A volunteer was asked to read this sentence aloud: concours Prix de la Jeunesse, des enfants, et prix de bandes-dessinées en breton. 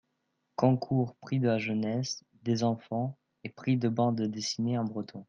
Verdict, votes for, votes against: accepted, 2, 0